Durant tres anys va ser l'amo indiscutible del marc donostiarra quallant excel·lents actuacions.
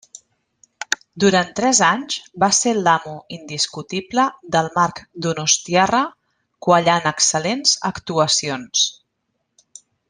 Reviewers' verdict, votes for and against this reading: rejected, 1, 2